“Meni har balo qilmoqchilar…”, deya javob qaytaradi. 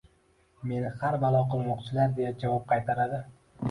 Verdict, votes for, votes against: rejected, 1, 2